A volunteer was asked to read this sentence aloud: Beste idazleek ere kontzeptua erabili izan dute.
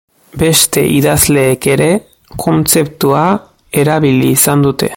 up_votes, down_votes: 2, 0